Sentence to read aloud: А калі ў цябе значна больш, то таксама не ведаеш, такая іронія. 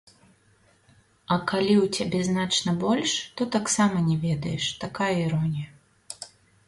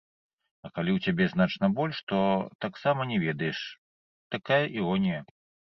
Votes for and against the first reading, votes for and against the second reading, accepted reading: 2, 0, 1, 2, first